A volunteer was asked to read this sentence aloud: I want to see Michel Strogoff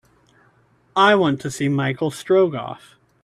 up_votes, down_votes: 2, 0